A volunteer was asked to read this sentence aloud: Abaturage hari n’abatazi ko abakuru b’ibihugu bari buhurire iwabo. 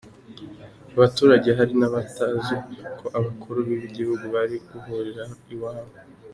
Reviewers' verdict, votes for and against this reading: rejected, 1, 2